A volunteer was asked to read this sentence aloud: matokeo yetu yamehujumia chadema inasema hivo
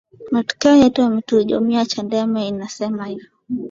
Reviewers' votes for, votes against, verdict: 2, 0, accepted